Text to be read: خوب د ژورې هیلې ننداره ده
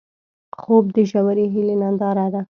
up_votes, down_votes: 2, 0